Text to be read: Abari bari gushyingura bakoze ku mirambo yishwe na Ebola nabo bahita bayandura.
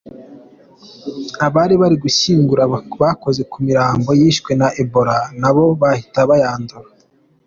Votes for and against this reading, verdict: 2, 1, accepted